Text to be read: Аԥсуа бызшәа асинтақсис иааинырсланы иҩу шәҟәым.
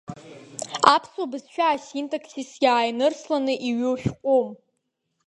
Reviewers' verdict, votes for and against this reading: rejected, 0, 2